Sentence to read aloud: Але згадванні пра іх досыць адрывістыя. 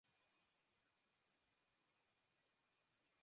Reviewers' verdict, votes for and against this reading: rejected, 0, 2